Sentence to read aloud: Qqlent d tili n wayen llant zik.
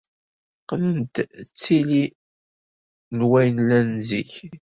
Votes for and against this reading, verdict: 0, 2, rejected